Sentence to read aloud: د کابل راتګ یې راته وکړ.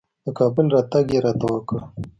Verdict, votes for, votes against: accepted, 3, 0